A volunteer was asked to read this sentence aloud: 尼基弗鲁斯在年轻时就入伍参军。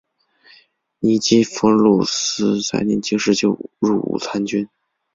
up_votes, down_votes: 2, 1